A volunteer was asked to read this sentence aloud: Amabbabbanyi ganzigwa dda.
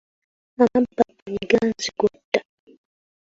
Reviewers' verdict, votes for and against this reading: rejected, 0, 2